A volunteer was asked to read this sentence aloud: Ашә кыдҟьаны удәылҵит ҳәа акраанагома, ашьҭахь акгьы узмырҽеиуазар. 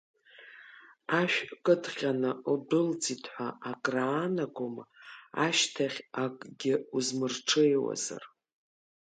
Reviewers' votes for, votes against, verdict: 4, 1, accepted